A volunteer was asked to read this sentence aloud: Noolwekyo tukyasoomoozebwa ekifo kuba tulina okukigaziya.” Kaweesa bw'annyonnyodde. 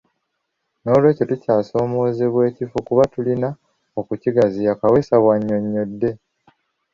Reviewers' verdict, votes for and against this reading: accepted, 2, 0